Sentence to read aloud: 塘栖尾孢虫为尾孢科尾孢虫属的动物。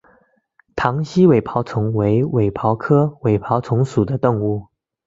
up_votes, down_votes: 2, 1